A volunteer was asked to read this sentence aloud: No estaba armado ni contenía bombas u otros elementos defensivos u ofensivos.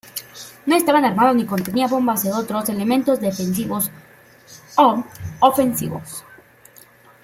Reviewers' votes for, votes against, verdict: 1, 2, rejected